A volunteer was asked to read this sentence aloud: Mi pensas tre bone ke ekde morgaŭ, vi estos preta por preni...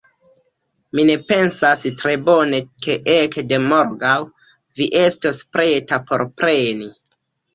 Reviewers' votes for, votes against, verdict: 0, 2, rejected